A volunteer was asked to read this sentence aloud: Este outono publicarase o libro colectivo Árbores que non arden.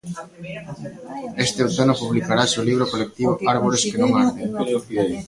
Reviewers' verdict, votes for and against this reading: rejected, 0, 2